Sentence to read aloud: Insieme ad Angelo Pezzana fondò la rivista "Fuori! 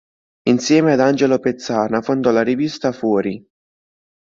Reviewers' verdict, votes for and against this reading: accepted, 2, 0